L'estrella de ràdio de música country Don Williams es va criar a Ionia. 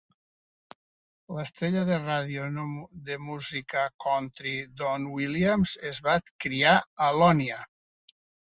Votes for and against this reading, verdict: 1, 2, rejected